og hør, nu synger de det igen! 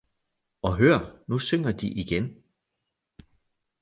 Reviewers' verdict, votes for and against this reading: rejected, 1, 2